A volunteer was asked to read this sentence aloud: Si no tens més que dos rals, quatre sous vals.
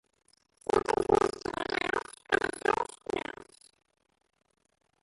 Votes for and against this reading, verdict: 1, 2, rejected